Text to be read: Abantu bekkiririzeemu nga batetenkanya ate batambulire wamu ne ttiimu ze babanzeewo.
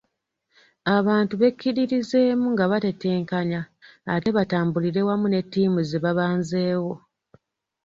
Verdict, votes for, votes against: rejected, 0, 2